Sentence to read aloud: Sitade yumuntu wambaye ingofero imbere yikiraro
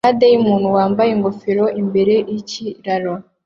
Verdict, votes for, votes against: accepted, 2, 0